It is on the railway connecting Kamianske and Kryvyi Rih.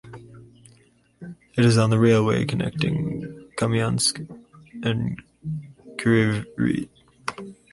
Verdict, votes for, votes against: rejected, 0, 4